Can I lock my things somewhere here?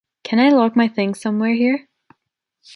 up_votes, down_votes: 2, 0